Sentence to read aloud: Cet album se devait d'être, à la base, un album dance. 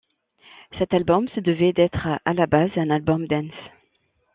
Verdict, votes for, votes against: accepted, 2, 0